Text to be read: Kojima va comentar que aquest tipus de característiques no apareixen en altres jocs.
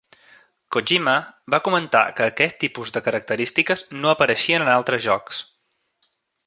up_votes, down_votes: 1, 2